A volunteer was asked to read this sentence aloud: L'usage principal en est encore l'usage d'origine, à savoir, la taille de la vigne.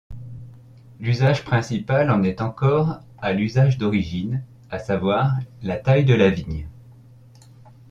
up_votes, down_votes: 1, 2